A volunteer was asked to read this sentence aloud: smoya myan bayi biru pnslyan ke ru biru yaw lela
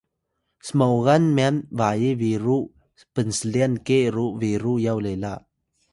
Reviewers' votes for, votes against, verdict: 1, 2, rejected